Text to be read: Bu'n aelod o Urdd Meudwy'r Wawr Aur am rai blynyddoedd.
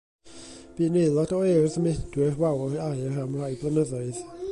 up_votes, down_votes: 1, 2